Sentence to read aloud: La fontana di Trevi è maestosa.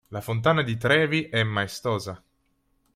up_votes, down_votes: 2, 0